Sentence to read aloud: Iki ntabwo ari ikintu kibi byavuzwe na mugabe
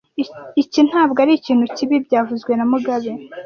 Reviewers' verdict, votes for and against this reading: rejected, 1, 2